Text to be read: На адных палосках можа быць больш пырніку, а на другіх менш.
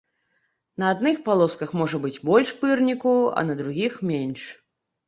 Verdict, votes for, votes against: accepted, 2, 0